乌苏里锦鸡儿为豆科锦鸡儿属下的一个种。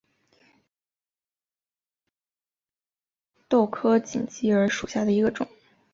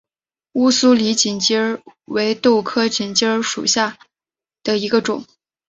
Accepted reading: second